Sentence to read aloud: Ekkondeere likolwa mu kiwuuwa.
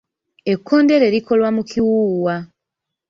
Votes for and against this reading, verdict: 2, 1, accepted